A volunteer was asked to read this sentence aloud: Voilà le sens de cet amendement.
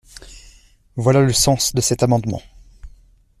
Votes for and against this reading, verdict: 2, 0, accepted